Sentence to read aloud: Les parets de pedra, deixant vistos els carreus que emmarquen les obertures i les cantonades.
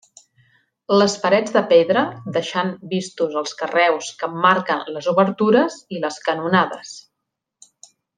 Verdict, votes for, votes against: rejected, 0, 2